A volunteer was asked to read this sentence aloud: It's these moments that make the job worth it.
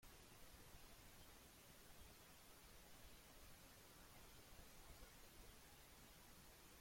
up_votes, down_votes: 0, 2